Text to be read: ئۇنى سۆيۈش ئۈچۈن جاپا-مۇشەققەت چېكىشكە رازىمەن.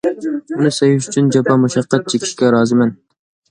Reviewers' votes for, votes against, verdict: 2, 0, accepted